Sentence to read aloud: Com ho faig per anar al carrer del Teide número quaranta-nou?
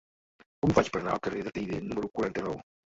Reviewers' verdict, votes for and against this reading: rejected, 0, 2